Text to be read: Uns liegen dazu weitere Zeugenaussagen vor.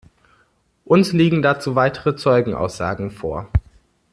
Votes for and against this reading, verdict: 2, 0, accepted